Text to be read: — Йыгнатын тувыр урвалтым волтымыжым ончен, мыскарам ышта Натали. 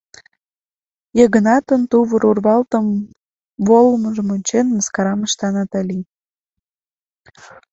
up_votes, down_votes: 0, 2